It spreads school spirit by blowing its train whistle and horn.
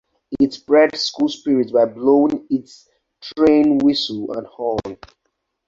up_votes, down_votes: 2, 0